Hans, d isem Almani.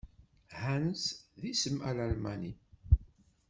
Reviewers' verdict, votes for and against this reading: rejected, 1, 2